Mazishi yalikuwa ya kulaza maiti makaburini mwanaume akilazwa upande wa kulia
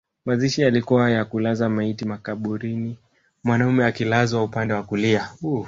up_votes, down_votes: 1, 2